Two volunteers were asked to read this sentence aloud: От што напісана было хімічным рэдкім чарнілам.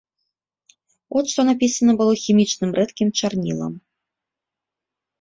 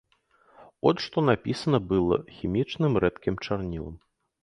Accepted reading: first